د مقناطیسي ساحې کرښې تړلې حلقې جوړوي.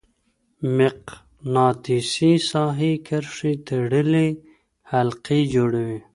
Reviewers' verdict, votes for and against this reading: rejected, 1, 2